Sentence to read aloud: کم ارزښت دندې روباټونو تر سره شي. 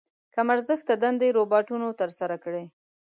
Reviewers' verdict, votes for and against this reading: rejected, 1, 2